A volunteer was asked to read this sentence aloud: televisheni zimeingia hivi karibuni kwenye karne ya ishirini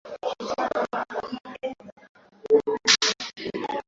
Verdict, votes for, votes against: rejected, 0, 2